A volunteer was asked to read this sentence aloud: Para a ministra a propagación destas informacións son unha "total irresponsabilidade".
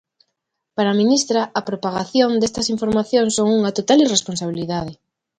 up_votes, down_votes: 2, 0